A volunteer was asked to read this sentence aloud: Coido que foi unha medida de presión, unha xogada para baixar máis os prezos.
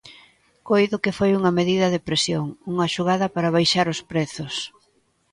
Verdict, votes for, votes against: rejected, 1, 2